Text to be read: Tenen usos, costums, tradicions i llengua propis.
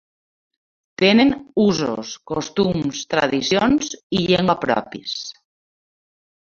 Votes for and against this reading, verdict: 2, 0, accepted